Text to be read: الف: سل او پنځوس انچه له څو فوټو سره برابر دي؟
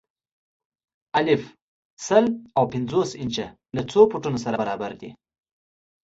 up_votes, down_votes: 2, 0